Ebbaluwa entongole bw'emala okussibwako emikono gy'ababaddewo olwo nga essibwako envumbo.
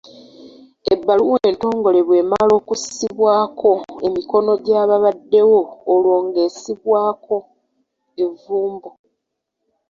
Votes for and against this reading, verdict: 1, 2, rejected